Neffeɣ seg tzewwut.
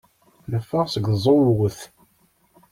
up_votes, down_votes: 1, 2